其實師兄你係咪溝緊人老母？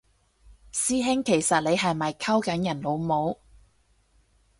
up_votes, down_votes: 0, 4